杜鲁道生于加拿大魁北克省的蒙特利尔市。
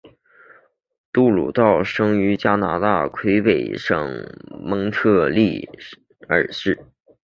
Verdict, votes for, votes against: rejected, 0, 2